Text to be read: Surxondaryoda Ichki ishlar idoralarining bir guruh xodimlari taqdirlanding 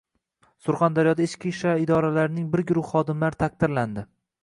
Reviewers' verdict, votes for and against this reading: rejected, 0, 2